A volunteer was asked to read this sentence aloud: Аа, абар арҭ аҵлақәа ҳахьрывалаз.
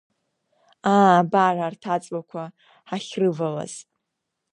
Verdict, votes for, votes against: rejected, 1, 2